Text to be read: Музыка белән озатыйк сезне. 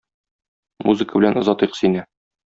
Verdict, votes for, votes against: rejected, 0, 2